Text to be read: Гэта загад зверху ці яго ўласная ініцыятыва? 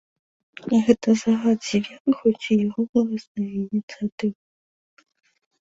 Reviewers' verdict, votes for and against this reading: rejected, 1, 2